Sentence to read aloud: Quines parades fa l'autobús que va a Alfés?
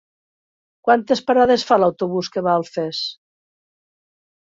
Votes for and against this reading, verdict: 0, 2, rejected